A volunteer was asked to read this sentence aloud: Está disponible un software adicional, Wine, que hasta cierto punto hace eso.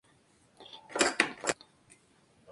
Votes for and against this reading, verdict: 0, 2, rejected